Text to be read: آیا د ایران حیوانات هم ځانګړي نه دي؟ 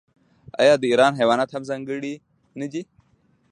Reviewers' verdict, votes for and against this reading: accepted, 3, 0